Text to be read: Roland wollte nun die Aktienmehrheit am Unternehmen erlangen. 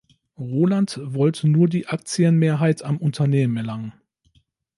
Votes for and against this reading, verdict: 1, 2, rejected